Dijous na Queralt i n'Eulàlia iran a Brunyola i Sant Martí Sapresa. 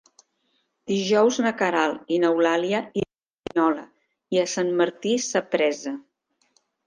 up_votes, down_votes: 0, 2